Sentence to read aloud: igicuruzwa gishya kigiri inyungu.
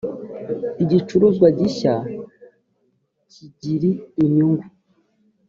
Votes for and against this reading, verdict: 3, 0, accepted